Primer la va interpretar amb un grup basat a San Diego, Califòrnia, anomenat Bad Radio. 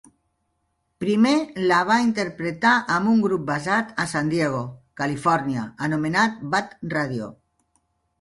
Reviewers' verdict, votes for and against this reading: accepted, 2, 0